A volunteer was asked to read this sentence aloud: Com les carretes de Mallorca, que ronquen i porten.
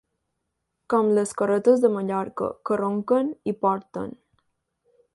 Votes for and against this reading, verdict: 2, 0, accepted